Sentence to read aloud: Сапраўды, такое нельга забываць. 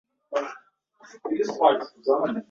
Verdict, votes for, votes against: rejected, 0, 2